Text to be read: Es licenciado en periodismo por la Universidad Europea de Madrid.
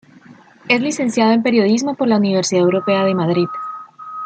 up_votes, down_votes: 2, 0